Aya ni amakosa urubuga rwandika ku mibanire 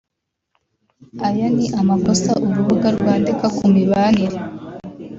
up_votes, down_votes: 2, 0